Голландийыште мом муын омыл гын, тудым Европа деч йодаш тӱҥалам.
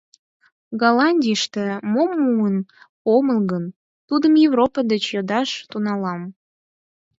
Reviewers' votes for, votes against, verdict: 2, 4, rejected